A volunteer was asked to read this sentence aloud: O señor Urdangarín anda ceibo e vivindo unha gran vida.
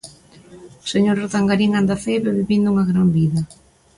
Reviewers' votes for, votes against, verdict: 2, 0, accepted